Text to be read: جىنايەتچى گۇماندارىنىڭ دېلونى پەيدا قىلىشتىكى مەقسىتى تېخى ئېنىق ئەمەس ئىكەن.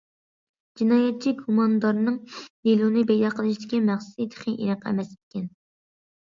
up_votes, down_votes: 0, 2